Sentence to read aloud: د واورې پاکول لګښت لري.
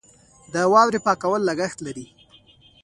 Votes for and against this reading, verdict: 1, 2, rejected